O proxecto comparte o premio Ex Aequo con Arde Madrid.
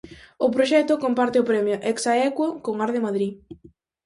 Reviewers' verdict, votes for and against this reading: accepted, 4, 0